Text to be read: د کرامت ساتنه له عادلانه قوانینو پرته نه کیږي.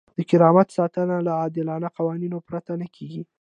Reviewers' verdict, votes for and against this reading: accepted, 2, 0